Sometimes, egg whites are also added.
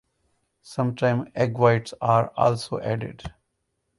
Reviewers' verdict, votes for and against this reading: rejected, 0, 2